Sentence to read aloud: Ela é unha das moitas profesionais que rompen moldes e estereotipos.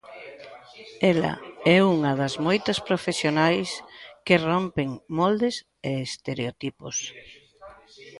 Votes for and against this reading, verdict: 1, 2, rejected